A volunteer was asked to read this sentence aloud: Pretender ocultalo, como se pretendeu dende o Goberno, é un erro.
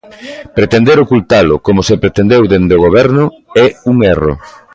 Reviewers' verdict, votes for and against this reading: accepted, 2, 0